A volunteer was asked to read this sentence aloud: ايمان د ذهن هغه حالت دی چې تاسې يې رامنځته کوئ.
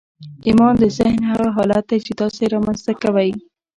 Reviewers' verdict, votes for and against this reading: accepted, 2, 0